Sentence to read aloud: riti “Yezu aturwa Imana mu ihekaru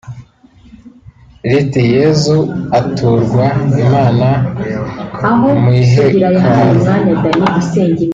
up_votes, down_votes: 0, 2